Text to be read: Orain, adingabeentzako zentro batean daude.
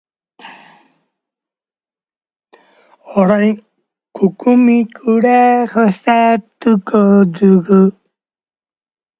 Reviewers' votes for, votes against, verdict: 0, 2, rejected